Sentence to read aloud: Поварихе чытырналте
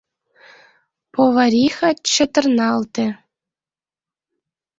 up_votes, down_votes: 0, 2